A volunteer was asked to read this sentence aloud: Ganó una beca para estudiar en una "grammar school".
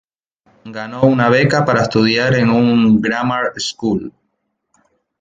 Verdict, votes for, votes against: rejected, 0, 2